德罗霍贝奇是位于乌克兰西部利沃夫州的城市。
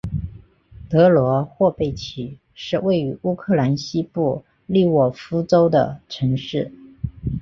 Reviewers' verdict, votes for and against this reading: accepted, 3, 1